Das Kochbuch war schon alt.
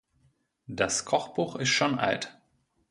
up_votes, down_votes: 0, 2